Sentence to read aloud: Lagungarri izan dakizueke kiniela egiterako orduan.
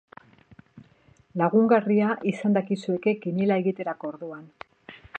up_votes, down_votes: 1, 2